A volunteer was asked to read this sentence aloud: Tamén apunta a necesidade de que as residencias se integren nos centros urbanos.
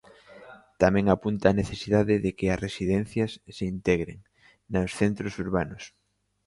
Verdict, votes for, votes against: accepted, 2, 0